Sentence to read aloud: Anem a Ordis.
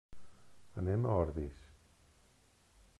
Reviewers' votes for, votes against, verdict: 2, 0, accepted